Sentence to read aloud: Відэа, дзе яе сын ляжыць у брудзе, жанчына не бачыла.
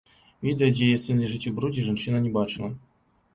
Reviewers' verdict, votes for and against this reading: rejected, 1, 2